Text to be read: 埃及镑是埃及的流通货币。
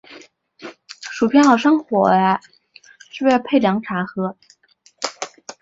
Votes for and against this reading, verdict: 0, 2, rejected